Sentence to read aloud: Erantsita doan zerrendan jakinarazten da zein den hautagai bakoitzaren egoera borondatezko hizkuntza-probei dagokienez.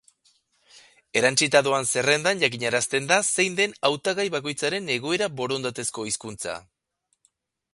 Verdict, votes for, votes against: rejected, 0, 2